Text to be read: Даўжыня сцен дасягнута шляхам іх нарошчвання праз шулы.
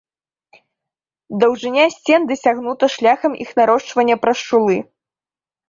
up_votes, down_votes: 1, 2